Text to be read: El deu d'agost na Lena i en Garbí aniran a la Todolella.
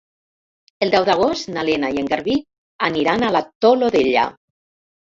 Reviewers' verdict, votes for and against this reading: rejected, 2, 4